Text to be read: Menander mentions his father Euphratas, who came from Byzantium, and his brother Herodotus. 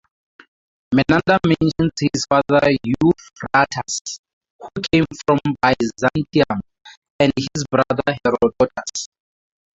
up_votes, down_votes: 0, 4